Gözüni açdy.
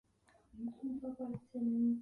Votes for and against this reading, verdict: 0, 4, rejected